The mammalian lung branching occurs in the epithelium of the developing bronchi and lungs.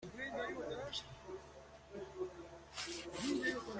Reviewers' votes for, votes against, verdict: 0, 2, rejected